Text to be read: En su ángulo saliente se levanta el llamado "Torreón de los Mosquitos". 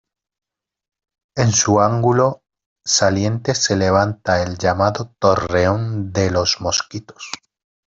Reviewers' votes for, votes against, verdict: 1, 2, rejected